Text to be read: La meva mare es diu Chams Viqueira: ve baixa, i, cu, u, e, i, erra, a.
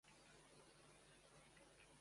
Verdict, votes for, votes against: rejected, 0, 2